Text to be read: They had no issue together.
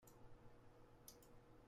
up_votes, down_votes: 0, 2